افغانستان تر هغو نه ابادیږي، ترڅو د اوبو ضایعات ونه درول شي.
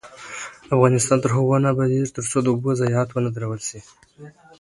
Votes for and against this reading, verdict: 2, 0, accepted